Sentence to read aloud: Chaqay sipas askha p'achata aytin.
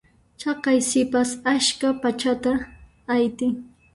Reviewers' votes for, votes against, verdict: 0, 2, rejected